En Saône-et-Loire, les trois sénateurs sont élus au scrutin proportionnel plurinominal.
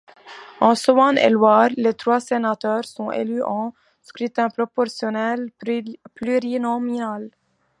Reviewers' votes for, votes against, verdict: 2, 0, accepted